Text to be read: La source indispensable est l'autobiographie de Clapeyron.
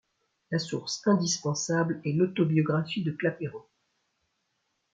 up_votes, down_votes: 2, 0